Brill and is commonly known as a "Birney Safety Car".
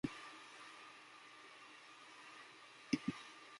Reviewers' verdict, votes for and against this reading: rejected, 1, 2